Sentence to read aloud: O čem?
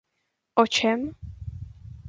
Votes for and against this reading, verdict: 2, 0, accepted